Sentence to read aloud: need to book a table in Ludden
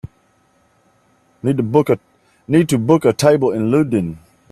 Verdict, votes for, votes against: rejected, 1, 2